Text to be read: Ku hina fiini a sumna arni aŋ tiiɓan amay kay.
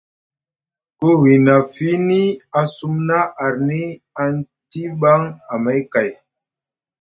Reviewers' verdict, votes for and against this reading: accepted, 2, 0